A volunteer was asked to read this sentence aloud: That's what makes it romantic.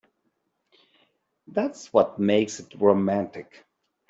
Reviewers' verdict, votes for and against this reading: accepted, 2, 0